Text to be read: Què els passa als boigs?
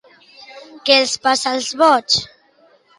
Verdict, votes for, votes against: accepted, 2, 0